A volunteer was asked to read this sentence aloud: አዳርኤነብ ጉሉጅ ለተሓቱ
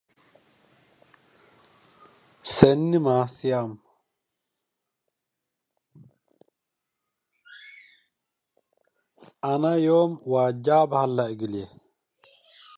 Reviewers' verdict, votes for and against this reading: rejected, 0, 2